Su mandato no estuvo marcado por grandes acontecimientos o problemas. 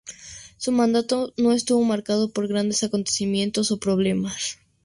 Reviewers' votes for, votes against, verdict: 2, 0, accepted